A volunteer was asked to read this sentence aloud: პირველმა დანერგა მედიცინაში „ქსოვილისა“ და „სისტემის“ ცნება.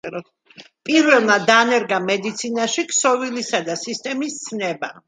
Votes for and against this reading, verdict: 2, 1, accepted